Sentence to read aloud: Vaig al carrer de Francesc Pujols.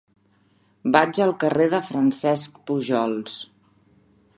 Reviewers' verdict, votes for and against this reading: accepted, 3, 1